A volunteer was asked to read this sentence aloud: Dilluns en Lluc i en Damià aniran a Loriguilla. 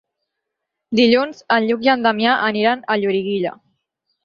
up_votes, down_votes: 6, 0